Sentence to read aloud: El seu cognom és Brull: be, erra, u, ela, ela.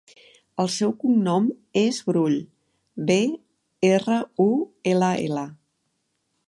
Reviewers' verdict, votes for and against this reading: accepted, 2, 0